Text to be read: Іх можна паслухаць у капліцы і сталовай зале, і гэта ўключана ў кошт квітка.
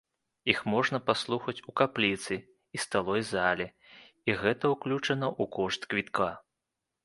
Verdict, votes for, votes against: rejected, 1, 2